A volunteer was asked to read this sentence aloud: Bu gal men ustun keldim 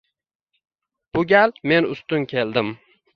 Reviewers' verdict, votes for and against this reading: rejected, 1, 2